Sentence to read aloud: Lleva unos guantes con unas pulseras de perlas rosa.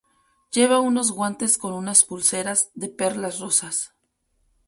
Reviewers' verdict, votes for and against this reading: rejected, 0, 4